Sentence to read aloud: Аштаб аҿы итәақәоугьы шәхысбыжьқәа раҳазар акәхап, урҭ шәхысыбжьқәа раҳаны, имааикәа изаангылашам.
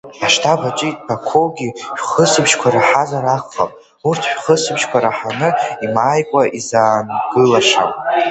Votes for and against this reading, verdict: 1, 2, rejected